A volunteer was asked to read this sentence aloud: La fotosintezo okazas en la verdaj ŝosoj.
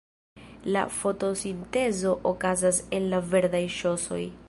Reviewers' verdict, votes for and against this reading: rejected, 0, 2